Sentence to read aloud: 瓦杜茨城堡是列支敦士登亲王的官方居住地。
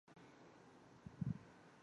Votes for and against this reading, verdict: 0, 2, rejected